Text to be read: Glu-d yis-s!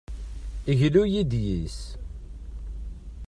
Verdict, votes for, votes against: rejected, 0, 2